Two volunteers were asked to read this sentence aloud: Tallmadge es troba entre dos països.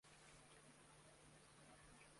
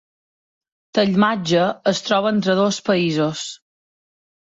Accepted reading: second